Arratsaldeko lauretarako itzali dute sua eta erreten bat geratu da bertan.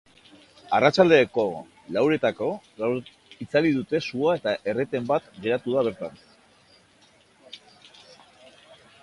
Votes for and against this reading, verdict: 0, 2, rejected